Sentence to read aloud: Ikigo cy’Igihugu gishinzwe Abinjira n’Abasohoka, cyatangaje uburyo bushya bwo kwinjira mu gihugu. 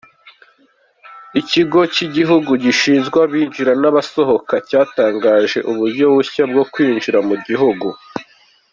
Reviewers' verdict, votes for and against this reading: accepted, 2, 0